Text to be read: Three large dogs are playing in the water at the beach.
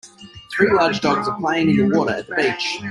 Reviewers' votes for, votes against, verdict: 0, 2, rejected